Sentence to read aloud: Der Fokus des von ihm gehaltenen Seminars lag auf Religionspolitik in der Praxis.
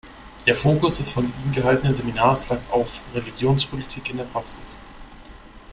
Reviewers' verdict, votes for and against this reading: accepted, 2, 0